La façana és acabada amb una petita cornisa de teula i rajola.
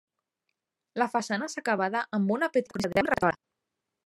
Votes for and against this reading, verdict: 0, 2, rejected